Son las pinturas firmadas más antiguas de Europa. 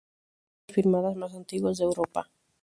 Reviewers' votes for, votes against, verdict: 0, 2, rejected